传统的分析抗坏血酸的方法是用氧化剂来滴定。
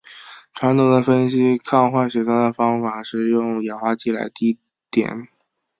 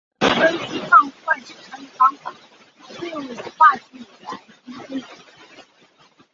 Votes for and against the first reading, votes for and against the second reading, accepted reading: 3, 1, 3, 6, first